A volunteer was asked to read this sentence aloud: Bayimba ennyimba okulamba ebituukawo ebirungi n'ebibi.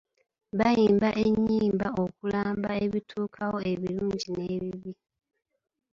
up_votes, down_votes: 3, 0